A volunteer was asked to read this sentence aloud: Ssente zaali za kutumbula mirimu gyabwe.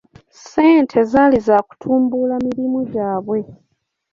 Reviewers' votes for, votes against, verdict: 1, 2, rejected